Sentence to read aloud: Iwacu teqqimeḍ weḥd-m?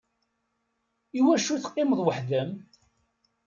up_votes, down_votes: 2, 0